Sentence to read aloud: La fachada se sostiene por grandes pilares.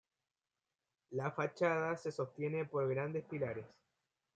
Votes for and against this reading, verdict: 2, 1, accepted